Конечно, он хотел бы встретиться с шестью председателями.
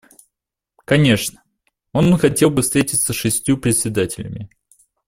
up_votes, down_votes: 1, 2